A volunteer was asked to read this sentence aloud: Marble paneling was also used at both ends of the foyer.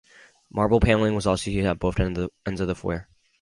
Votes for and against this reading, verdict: 0, 4, rejected